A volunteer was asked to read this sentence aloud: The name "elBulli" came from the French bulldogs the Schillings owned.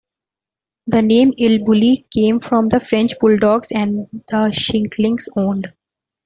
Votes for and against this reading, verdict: 0, 2, rejected